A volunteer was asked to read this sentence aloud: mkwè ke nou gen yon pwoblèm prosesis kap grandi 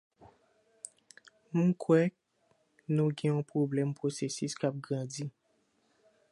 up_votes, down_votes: 1, 2